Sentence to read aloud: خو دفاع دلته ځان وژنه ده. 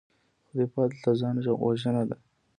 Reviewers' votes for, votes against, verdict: 2, 0, accepted